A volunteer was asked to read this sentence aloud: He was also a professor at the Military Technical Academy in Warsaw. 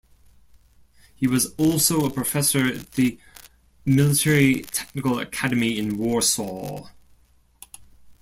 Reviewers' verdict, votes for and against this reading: accepted, 2, 1